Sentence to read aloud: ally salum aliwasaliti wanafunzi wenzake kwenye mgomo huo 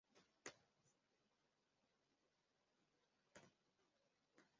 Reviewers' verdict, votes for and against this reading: rejected, 0, 2